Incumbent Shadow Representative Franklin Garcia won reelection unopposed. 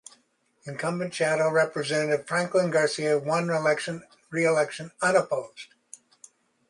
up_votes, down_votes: 0, 2